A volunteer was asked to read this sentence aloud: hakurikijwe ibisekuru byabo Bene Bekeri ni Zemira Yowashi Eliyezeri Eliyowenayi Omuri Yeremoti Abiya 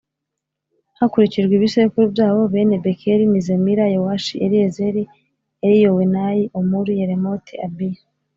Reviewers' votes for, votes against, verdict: 3, 0, accepted